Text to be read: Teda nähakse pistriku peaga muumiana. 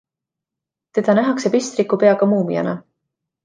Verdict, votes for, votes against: accepted, 2, 0